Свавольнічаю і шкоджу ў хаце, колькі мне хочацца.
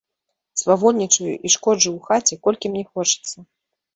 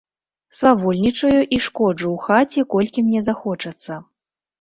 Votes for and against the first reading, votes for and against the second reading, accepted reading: 2, 0, 1, 2, first